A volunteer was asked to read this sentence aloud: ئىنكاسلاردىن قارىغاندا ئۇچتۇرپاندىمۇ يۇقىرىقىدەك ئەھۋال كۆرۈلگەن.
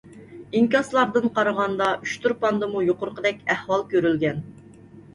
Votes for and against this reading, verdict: 2, 0, accepted